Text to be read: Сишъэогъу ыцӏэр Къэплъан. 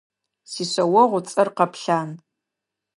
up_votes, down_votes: 3, 0